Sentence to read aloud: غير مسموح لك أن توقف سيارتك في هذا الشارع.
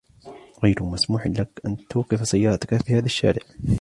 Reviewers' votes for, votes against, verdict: 2, 0, accepted